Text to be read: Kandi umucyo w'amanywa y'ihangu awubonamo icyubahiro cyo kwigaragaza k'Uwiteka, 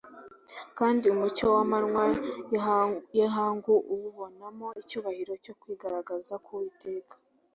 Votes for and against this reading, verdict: 0, 2, rejected